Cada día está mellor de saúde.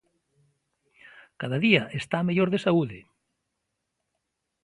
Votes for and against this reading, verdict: 2, 0, accepted